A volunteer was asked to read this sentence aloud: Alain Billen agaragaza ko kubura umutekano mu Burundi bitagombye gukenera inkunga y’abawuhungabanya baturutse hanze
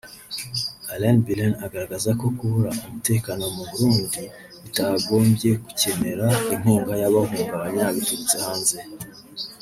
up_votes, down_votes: 1, 2